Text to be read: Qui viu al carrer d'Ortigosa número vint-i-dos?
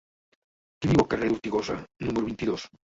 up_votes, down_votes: 1, 2